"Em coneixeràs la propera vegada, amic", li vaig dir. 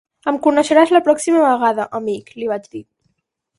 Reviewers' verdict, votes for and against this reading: rejected, 2, 4